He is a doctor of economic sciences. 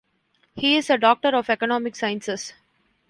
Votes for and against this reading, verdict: 2, 0, accepted